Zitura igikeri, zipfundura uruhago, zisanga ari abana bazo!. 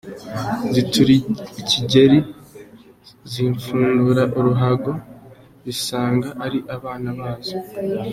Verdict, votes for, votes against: rejected, 0, 2